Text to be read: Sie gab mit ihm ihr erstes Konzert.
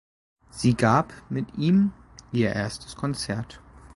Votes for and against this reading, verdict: 2, 0, accepted